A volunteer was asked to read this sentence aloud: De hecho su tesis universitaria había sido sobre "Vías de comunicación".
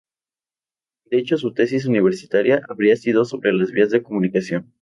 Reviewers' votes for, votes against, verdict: 0, 2, rejected